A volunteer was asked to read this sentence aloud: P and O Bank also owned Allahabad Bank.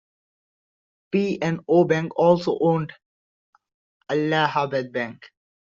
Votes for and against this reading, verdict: 2, 0, accepted